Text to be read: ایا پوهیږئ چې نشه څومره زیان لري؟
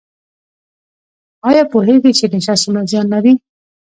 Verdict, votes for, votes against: rejected, 1, 2